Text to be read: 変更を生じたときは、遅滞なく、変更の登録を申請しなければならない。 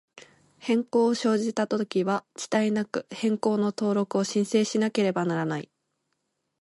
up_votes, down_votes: 1, 2